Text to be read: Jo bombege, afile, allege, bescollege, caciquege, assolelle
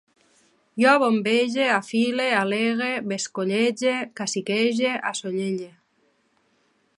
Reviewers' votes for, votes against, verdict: 1, 2, rejected